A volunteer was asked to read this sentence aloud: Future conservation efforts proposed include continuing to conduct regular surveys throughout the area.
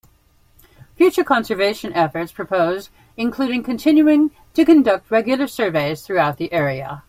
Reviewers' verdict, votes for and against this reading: accepted, 2, 0